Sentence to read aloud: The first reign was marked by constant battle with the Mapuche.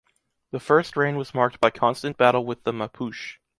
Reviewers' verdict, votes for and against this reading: accepted, 2, 0